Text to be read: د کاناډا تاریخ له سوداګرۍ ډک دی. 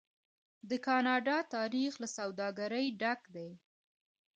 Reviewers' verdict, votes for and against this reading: accepted, 2, 0